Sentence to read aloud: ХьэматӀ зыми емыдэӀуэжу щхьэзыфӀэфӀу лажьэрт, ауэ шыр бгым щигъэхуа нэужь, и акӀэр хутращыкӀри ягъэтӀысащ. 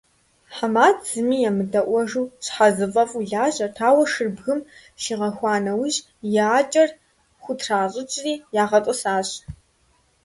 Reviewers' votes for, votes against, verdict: 1, 3, rejected